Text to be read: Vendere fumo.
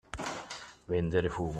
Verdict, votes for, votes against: accepted, 2, 1